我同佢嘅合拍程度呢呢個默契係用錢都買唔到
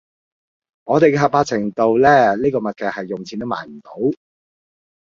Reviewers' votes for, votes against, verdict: 0, 2, rejected